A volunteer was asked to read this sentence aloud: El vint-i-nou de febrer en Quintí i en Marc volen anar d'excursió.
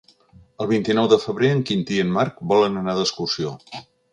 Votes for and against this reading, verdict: 5, 0, accepted